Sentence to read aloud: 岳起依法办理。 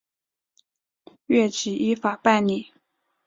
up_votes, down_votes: 4, 0